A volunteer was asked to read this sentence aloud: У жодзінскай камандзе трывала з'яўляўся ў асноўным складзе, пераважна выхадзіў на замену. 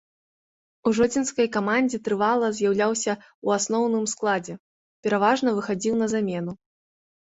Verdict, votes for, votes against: accepted, 2, 0